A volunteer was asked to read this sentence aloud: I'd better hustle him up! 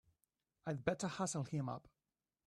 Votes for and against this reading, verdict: 3, 0, accepted